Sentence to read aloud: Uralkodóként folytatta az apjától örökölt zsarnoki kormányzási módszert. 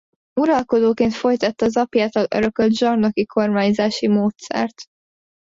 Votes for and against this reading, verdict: 2, 0, accepted